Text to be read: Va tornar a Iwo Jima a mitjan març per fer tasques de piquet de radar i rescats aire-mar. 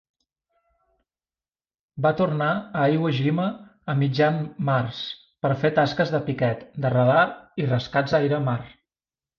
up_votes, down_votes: 2, 0